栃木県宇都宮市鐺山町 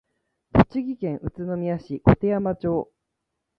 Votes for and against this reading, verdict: 2, 1, accepted